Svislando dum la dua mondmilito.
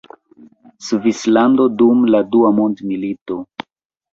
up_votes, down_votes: 1, 2